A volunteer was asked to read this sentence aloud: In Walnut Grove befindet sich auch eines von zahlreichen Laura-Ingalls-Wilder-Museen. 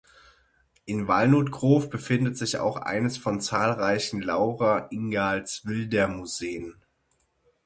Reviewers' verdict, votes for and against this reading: rejected, 3, 6